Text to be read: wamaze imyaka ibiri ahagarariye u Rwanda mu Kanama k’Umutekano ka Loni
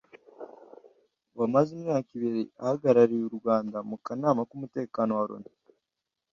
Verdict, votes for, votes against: rejected, 0, 2